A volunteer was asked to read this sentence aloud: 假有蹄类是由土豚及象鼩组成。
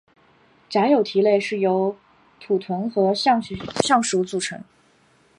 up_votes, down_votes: 0, 2